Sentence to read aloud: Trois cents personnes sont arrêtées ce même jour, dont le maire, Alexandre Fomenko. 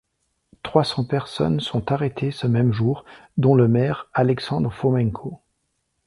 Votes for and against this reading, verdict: 2, 0, accepted